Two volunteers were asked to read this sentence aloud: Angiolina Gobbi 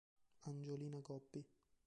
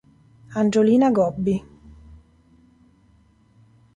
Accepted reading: second